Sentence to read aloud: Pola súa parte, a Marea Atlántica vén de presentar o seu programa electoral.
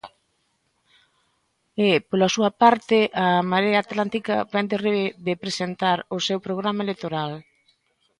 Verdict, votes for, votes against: rejected, 1, 2